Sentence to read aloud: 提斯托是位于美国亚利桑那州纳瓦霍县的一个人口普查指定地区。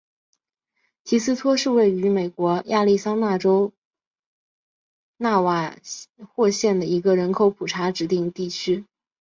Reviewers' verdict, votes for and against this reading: accepted, 2, 1